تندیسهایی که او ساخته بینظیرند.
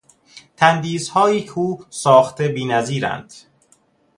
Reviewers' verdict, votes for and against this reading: accepted, 2, 0